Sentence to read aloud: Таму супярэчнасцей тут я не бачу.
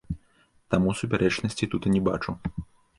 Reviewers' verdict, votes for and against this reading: rejected, 1, 2